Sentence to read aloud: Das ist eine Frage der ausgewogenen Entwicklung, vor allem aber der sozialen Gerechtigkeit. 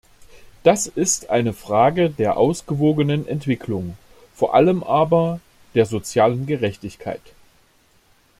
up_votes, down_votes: 2, 0